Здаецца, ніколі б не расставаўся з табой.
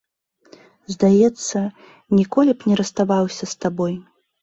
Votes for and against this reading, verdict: 2, 0, accepted